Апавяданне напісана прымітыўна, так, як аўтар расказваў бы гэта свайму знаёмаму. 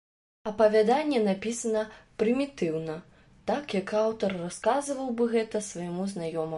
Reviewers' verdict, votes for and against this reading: rejected, 0, 2